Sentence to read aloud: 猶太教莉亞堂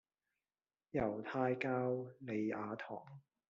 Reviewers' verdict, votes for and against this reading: accepted, 2, 0